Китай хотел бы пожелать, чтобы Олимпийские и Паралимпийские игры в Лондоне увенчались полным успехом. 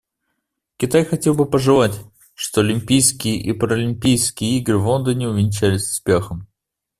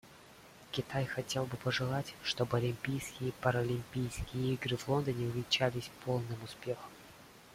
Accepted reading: second